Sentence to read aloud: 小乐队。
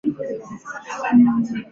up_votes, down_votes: 1, 2